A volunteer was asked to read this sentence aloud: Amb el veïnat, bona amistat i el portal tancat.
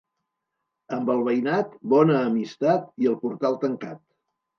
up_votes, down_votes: 2, 0